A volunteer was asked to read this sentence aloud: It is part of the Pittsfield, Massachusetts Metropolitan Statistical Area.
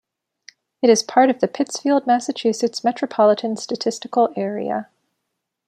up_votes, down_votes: 2, 0